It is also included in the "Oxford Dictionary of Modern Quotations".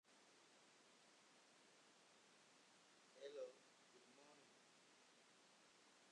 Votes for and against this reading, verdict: 0, 2, rejected